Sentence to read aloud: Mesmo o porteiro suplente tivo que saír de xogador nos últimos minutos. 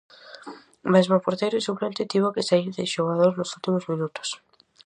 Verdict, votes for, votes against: accepted, 4, 0